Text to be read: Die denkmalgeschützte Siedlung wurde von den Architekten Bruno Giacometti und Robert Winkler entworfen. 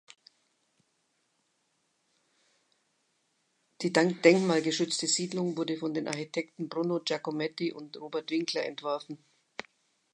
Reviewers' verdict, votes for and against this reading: rejected, 1, 2